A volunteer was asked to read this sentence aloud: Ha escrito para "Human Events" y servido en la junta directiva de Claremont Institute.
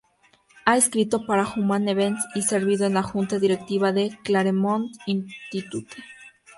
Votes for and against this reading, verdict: 0, 2, rejected